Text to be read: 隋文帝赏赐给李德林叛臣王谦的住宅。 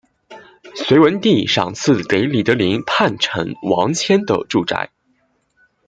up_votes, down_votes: 1, 2